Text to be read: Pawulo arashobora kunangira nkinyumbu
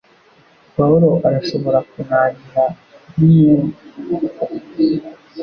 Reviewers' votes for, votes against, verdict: 0, 2, rejected